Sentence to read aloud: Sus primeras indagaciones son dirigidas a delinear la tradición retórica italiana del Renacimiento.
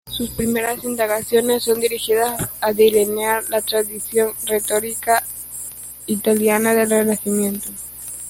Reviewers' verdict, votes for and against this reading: rejected, 1, 2